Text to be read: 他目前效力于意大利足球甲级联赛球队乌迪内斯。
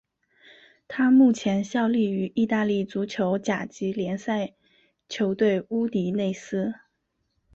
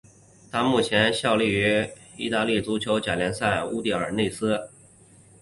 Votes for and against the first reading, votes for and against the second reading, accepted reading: 6, 0, 1, 2, first